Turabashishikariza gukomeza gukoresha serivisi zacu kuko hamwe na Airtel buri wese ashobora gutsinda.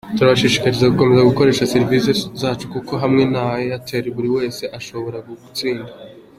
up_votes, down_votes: 3, 0